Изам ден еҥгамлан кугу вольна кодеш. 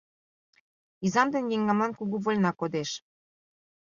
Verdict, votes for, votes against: accepted, 2, 1